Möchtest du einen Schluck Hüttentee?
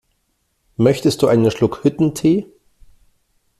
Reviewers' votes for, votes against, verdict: 2, 0, accepted